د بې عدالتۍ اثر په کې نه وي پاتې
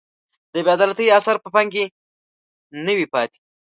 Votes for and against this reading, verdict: 1, 2, rejected